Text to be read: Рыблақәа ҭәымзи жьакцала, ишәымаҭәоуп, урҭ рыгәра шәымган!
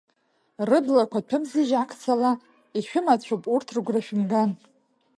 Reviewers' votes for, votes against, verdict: 1, 2, rejected